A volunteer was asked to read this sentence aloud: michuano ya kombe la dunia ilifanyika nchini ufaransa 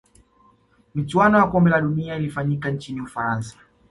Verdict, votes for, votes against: accepted, 2, 0